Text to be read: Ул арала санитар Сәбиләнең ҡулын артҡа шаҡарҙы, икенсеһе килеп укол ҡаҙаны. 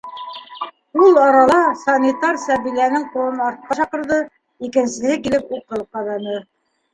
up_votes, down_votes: 1, 2